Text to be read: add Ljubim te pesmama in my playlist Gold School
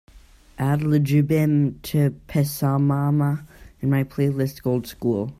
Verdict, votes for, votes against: rejected, 3, 3